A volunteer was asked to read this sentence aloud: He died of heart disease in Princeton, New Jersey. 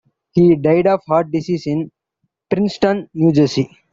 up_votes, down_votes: 1, 2